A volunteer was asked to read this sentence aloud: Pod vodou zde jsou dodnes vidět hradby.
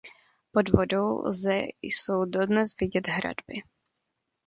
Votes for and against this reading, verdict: 1, 2, rejected